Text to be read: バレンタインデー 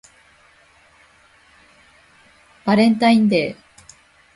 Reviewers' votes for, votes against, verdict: 1, 2, rejected